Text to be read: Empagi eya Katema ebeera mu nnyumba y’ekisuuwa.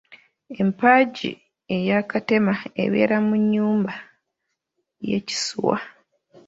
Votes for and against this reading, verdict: 1, 2, rejected